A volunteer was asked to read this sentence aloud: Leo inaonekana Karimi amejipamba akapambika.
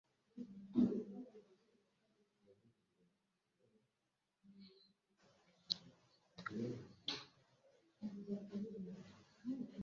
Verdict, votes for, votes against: rejected, 0, 3